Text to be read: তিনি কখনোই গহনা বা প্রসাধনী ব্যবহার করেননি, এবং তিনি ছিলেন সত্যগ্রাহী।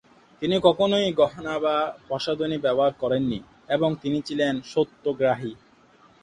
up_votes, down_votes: 2, 1